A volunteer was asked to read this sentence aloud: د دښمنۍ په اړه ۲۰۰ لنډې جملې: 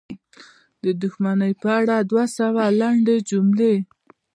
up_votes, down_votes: 0, 2